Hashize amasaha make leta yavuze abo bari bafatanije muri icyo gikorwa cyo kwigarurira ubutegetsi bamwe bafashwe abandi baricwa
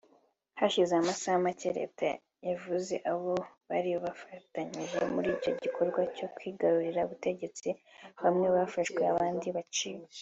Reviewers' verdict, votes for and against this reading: accepted, 2, 1